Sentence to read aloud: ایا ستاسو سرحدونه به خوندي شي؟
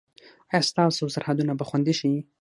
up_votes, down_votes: 6, 0